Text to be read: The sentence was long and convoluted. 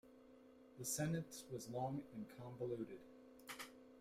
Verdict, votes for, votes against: rejected, 0, 2